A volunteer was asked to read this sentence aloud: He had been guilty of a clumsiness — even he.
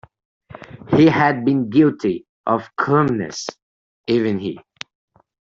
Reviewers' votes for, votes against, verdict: 0, 2, rejected